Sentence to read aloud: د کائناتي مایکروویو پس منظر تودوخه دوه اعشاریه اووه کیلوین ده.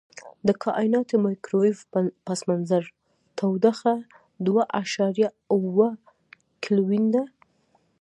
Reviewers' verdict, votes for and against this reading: rejected, 0, 2